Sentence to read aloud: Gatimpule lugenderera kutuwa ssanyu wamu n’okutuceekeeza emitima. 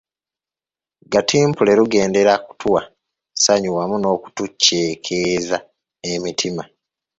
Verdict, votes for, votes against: rejected, 1, 2